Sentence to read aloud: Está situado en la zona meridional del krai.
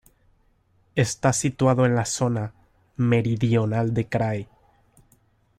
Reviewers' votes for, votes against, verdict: 0, 3, rejected